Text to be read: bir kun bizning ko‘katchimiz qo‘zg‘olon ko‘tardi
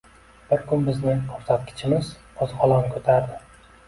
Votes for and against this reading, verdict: 1, 2, rejected